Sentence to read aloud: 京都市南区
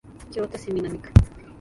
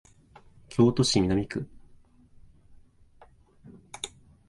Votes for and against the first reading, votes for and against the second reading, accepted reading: 0, 2, 2, 0, second